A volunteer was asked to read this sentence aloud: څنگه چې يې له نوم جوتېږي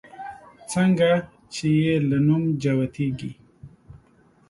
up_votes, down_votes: 2, 0